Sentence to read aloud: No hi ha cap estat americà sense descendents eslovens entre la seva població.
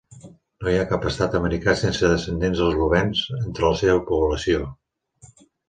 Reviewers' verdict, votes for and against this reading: accepted, 3, 0